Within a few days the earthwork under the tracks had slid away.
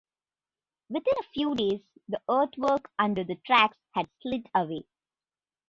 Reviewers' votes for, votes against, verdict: 0, 2, rejected